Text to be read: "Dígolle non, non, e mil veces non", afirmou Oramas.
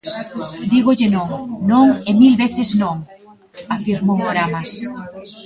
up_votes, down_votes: 1, 2